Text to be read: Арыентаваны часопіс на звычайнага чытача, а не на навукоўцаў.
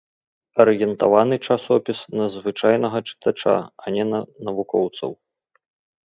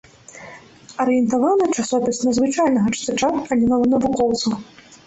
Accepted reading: first